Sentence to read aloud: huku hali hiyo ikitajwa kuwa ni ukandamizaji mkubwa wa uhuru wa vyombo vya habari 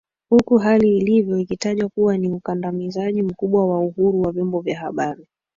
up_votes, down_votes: 2, 3